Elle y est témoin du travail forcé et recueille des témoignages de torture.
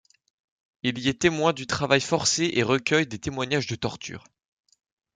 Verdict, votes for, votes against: rejected, 1, 2